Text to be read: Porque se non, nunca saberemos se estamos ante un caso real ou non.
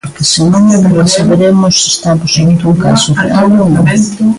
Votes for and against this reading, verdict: 0, 2, rejected